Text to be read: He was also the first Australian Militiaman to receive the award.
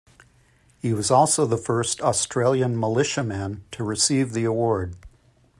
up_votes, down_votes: 2, 0